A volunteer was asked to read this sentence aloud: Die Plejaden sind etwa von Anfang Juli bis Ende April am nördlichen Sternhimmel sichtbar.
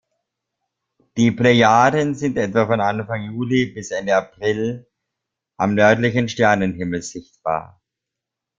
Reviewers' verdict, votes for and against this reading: accepted, 2, 0